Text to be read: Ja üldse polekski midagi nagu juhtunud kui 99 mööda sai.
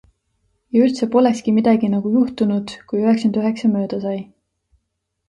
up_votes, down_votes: 0, 2